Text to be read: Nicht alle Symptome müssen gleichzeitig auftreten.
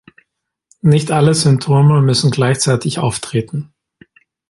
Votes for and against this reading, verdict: 2, 0, accepted